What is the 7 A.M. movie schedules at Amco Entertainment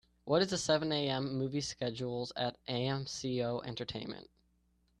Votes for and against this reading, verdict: 0, 2, rejected